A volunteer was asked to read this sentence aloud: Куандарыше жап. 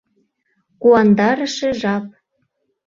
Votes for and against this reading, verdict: 2, 0, accepted